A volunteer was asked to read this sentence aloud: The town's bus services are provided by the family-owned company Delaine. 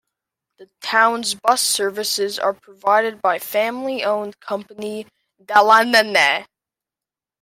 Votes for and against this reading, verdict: 0, 2, rejected